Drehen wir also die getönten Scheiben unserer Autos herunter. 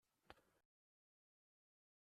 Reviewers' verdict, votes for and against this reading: rejected, 0, 2